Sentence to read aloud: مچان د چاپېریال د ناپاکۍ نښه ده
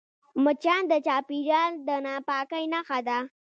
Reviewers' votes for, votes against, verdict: 1, 2, rejected